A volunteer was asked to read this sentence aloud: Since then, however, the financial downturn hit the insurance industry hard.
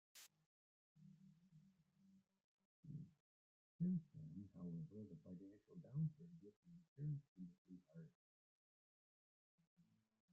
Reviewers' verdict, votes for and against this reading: rejected, 1, 3